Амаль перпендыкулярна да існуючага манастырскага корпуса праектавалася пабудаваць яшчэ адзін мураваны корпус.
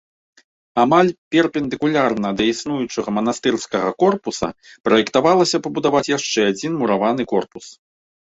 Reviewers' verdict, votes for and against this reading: accepted, 2, 0